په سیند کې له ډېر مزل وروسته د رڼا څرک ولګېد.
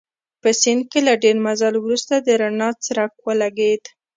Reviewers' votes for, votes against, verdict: 2, 0, accepted